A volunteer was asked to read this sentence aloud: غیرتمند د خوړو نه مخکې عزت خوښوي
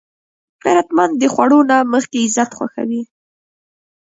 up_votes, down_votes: 1, 2